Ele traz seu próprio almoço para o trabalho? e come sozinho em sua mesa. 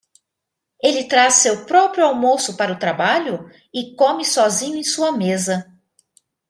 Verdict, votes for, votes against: accepted, 2, 0